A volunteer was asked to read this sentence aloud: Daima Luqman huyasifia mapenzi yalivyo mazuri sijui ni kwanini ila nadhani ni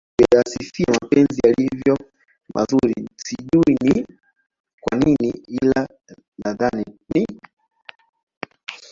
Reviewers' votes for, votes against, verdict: 0, 2, rejected